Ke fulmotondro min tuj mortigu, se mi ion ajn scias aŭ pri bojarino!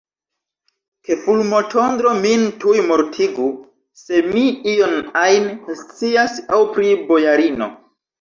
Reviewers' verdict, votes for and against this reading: accepted, 2, 1